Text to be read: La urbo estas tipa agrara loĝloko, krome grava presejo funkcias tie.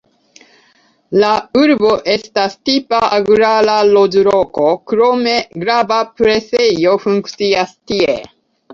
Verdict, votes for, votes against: rejected, 1, 2